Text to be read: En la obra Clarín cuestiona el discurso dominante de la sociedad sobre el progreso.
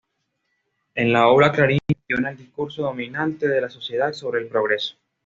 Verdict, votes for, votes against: accepted, 2, 1